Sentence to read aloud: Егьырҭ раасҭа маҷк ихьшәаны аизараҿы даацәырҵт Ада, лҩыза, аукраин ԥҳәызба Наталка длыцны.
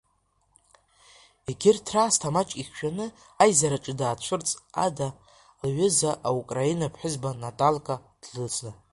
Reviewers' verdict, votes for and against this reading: accepted, 2, 0